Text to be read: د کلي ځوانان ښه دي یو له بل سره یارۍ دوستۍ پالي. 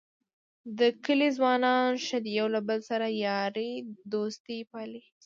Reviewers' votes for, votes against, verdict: 0, 2, rejected